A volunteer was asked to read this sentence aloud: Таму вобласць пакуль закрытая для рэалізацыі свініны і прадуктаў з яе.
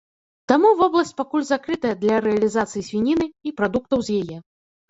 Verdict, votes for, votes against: accepted, 2, 0